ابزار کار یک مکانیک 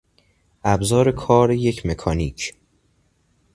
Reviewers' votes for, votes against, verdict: 2, 0, accepted